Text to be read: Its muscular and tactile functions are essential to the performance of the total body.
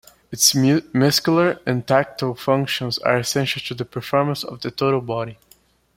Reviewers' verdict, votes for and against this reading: accepted, 2, 1